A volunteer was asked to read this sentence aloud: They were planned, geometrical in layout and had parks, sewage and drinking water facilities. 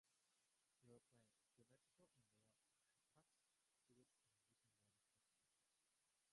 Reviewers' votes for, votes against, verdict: 0, 3, rejected